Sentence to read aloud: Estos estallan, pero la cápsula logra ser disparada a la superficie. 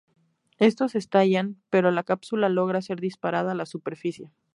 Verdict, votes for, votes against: accepted, 2, 0